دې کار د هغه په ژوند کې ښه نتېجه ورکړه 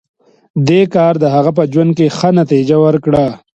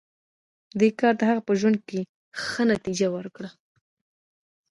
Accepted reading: first